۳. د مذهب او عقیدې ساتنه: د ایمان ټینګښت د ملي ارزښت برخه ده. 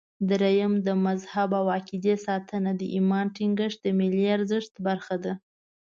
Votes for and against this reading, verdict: 0, 2, rejected